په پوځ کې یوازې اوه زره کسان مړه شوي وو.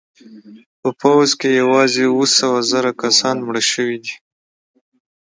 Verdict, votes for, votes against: rejected, 0, 2